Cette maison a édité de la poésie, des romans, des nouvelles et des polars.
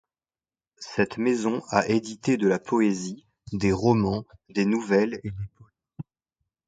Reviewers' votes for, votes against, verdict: 0, 2, rejected